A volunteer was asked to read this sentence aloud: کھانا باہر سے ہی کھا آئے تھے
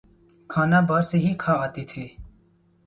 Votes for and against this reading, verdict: 0, 2, rejected